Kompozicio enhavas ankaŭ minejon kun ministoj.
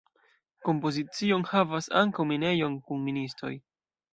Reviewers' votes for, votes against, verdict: 2, 0, accepted